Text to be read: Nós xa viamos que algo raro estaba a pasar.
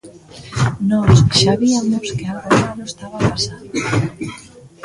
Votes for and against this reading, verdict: 1, 2, rejected